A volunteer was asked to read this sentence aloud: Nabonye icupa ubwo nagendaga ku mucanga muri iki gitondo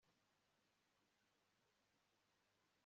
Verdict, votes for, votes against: rejected, 0, 2